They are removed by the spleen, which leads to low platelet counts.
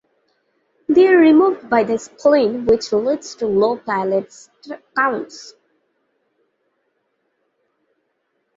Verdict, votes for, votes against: rejected, 0, 2